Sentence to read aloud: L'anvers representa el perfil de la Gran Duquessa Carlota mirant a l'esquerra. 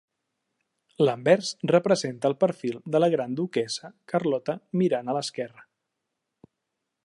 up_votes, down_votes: 3, 0